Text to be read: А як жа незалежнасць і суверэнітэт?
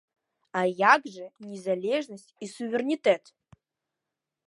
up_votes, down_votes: 2, 0